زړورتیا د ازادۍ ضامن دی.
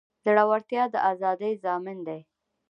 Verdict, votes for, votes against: accepted, 2, 1